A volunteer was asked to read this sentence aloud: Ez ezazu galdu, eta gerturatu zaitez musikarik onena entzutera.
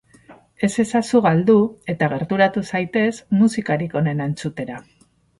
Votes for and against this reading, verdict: 4, 0, accepted